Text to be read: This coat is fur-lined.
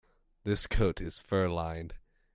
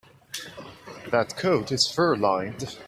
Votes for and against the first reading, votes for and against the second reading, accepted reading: 2, 0, 0, 2, first